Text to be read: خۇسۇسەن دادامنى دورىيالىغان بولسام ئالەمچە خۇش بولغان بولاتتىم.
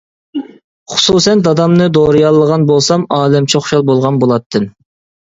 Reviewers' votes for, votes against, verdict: 0, 2, rejected